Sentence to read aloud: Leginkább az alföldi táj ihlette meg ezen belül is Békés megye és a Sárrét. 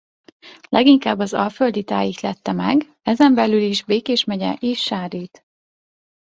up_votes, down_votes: 0, 2